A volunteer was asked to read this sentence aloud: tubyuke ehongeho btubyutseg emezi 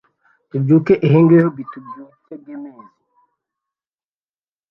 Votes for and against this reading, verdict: 0, 2, rejected